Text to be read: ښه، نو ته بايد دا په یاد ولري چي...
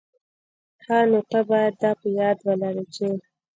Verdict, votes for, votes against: rejected, 1, 2